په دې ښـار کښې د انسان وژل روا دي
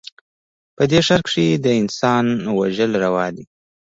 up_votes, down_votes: 1, 2